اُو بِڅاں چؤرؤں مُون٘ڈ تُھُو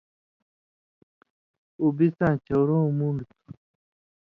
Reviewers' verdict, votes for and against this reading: rejected, 1, 2